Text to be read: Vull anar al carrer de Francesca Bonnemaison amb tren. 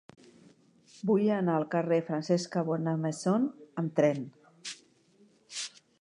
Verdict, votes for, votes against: rejected, 1, 2